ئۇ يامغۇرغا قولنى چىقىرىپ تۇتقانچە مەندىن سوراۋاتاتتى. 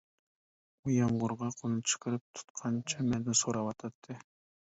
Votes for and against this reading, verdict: 2, 0, accepted